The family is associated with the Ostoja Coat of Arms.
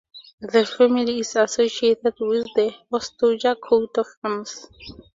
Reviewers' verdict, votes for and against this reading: accepted, 2, 0